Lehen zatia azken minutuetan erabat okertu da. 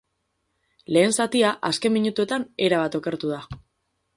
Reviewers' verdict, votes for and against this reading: accepted, 4, 0